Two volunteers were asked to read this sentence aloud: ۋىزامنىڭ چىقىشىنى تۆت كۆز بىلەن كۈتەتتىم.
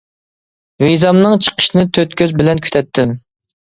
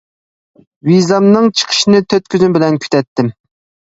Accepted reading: first